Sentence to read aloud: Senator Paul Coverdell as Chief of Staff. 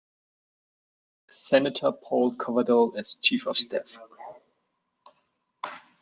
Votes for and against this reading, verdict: 2, 0, accepted